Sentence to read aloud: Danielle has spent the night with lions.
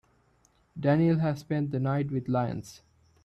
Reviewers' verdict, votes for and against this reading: accepted, 2, 0